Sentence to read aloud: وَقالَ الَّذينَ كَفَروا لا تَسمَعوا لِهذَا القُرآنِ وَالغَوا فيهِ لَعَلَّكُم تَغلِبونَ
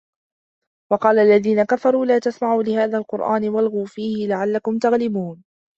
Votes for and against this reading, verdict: 1, 2, rejected